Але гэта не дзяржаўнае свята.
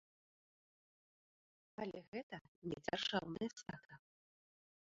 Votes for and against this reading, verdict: 0, 2, rejected